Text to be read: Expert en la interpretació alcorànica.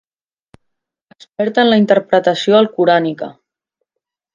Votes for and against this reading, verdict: 2, 0, accepted